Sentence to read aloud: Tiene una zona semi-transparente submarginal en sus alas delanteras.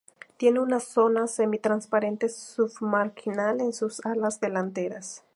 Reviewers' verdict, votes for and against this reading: accepted, 2, 0